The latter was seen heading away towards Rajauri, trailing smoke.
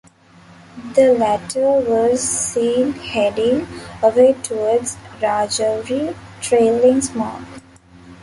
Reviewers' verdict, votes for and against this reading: rejected, 0, 2